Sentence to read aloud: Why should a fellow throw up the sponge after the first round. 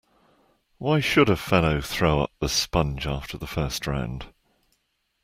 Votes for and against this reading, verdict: 2, 0, accepted